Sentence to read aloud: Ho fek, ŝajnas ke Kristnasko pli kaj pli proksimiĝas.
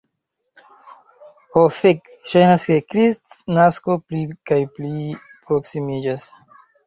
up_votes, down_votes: 0, 2